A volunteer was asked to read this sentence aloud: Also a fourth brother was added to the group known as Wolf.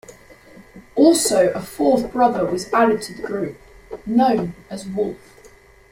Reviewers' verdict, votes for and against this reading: accepted, 2, 0